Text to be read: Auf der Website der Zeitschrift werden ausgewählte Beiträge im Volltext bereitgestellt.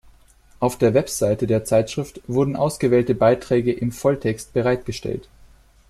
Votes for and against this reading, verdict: 0, 2, rejected